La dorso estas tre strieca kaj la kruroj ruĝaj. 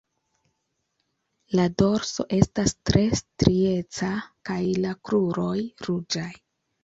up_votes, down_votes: 2, 0